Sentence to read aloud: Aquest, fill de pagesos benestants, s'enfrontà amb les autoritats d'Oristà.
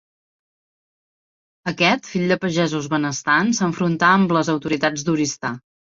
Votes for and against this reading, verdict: 2, 0, accepted